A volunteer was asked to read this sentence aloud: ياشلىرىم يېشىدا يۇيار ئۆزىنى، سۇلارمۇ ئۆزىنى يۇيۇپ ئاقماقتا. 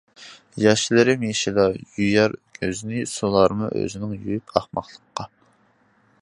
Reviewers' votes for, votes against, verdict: 0, 2, rejected